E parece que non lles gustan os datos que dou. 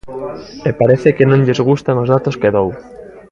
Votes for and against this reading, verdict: 2, 0, accepted